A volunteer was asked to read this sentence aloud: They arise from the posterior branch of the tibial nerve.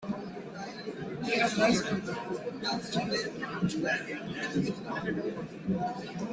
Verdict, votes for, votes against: rejected, 0, 2